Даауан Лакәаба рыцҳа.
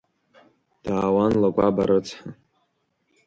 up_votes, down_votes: 2, 1